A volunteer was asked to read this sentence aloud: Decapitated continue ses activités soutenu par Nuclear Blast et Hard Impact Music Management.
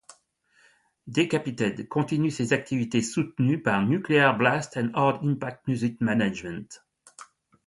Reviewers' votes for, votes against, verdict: 2, 0, accepted